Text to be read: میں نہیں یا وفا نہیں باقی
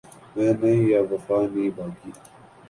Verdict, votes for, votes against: rejected, 2, 3